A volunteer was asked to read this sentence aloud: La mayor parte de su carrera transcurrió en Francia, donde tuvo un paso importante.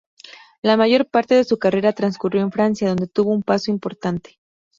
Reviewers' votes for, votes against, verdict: 2, 0, accepted